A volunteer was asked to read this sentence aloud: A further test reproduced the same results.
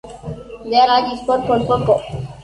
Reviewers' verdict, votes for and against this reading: rejected, 0, 2